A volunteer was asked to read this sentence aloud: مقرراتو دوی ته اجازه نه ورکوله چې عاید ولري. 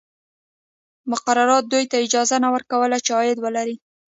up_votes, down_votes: 0, 2